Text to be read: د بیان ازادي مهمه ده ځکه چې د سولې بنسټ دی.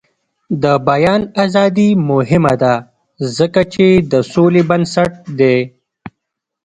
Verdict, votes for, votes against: rejected, 0, 2